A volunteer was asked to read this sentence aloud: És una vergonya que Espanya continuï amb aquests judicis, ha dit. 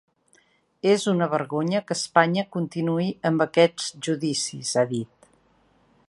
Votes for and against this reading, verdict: 3, 1, accepted